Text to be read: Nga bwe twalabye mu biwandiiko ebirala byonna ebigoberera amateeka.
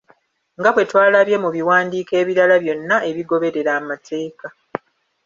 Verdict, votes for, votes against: accepted, 2, 0